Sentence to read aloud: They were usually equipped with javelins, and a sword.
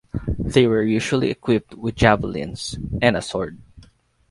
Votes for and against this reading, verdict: 2, 2, rejected